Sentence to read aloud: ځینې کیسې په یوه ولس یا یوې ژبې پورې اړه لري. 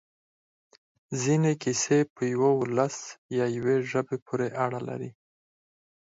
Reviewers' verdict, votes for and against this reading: rejected, 2, 4